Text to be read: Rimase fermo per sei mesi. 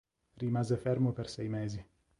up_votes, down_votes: 2, 0